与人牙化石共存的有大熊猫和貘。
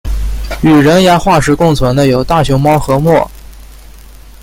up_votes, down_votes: 2, 0